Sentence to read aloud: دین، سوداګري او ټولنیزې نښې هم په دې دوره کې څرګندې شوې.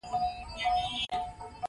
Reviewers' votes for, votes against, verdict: 0, 2, rejected